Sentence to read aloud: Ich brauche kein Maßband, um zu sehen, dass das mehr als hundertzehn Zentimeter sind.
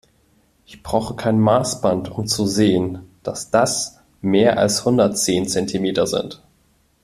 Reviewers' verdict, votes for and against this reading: accepted, 2, 0